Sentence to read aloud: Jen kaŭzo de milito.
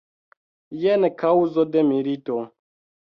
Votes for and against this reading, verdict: 2, 0, accepted